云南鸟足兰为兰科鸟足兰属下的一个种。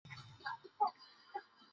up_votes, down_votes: 2, 3